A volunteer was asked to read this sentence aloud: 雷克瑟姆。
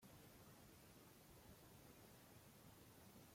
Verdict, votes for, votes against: rejected, 0, 2